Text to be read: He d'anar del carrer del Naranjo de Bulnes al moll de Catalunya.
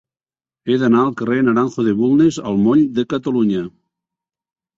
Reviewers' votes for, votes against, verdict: 1, 3, rejected